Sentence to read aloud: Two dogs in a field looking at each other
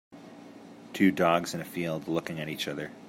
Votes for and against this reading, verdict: 2, 0, accepted